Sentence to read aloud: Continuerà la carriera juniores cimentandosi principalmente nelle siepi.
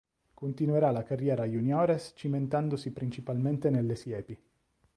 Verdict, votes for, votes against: accepted, 2, 0